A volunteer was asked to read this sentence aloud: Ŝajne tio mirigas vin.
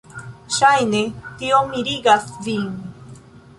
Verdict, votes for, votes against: accepted, 2, 1